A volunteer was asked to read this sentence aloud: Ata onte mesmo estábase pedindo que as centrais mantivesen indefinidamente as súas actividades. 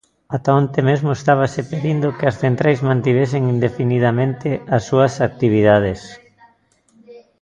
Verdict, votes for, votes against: rejected, 0, 2